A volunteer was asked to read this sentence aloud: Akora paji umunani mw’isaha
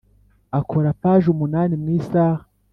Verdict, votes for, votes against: accepted, 4, 0